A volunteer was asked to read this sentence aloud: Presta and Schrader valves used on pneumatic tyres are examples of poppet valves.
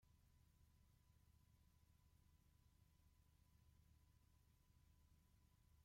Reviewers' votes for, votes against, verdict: 0, 2, rejected